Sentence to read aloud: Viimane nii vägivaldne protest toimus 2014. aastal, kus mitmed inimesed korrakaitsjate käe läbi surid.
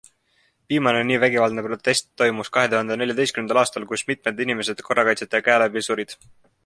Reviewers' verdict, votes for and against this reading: rejected, 0, 2